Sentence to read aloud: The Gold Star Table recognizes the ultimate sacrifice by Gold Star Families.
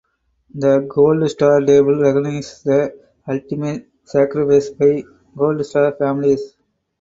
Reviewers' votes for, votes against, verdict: 0, 2, rejected